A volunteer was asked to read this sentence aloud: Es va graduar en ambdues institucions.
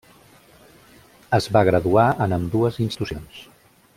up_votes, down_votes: 0, 2